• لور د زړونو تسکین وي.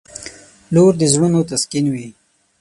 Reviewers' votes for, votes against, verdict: 6, 0, accepted